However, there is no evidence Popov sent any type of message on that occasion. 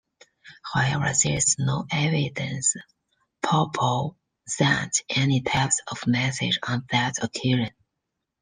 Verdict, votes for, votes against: rejected, 0, 2